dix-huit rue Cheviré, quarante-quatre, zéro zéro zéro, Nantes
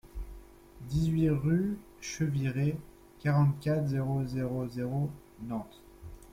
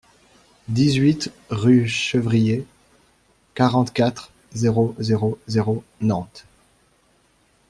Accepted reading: first